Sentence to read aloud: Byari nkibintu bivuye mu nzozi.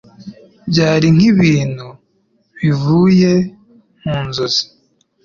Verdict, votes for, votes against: accepted, 2, 0